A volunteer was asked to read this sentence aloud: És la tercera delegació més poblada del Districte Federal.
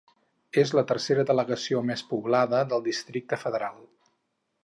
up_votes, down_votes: 4, 0